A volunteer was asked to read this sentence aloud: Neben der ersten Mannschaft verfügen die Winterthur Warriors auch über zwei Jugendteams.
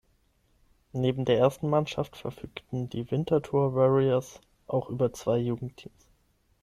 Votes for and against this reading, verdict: 3, 6, rejected